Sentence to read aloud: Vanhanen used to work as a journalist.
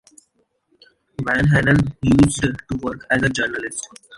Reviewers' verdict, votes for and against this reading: rejected, 0, 2